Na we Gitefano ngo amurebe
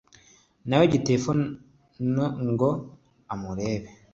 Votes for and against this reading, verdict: 3, 0, accepted